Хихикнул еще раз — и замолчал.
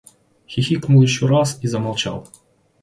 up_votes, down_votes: 2, 0